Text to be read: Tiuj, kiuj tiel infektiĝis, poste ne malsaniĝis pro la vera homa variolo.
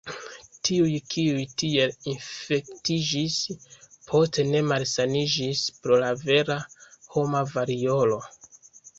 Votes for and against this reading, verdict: 3, 0, accepted